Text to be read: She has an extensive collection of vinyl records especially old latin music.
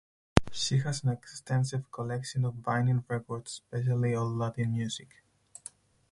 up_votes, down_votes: 2, 4